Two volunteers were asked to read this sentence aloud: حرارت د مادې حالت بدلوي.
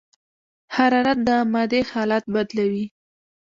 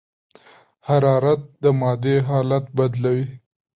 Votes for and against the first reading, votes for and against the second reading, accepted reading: 1, 2, 2, 0, second